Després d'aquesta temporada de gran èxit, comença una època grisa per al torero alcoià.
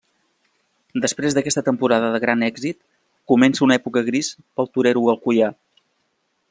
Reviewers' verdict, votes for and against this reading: rejected, 0, 2